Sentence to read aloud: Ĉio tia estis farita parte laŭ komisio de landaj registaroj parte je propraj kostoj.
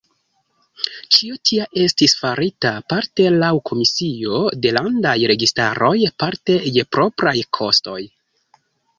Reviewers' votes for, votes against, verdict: 2, 0, accepted